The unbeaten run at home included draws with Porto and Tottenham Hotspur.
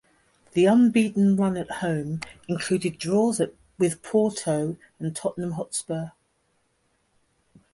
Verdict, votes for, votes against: accepted, 2, 0